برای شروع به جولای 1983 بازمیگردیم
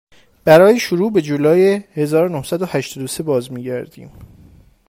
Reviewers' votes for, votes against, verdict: 0, 2, rejected